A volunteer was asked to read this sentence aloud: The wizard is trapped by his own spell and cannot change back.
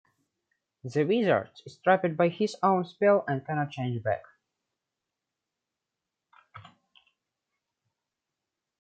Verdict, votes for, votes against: rejected, 1, 2